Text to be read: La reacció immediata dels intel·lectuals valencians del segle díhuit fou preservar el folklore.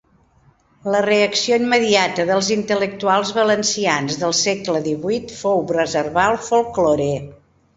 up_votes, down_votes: 2, 1